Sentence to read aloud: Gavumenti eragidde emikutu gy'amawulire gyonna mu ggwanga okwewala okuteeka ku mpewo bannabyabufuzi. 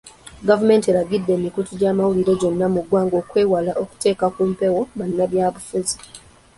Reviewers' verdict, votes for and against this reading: accepted, 2, 0